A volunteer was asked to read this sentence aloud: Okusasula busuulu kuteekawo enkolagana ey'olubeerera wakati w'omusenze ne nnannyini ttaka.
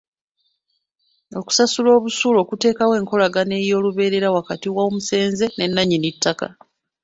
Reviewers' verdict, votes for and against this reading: accepted, 2, 1